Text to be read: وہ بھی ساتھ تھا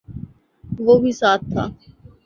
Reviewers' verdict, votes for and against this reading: accepted, 3, 0